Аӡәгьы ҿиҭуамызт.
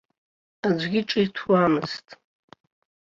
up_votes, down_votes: 2, 0